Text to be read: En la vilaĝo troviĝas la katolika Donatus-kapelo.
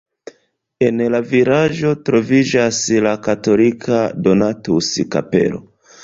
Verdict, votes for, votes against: accepted, 2, 0